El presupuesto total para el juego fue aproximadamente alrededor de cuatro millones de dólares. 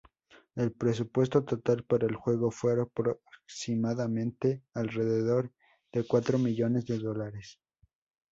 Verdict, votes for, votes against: rejected, 0, 2